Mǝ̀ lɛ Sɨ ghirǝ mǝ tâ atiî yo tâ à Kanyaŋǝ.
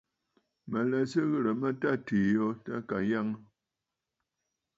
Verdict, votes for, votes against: accepted, 2, 0